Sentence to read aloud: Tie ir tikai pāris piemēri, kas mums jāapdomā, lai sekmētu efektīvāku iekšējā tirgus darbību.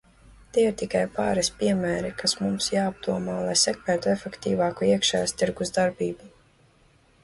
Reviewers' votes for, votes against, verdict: 1, 2, rejected